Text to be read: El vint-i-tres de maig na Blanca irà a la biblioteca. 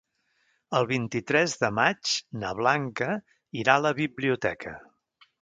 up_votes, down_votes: 3, 0